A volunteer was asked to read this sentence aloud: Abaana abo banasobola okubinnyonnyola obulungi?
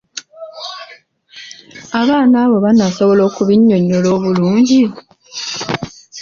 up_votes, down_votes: 2, 0